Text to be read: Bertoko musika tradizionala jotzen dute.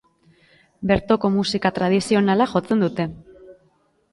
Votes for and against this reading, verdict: 2, 0, accepted